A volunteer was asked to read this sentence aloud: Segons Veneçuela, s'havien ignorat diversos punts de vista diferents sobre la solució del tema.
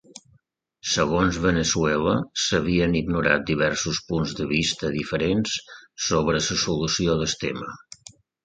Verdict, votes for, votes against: accepted, 2, 0